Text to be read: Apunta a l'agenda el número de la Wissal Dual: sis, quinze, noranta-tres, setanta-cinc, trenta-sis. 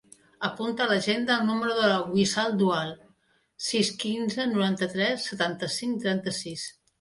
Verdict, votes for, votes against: accepted, 2, 0